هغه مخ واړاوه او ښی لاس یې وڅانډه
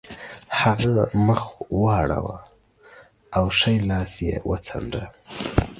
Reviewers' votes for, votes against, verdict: 0, 2, rejected